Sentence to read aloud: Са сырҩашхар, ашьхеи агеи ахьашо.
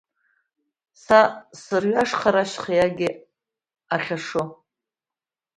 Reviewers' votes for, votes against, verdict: 3, 4, rejected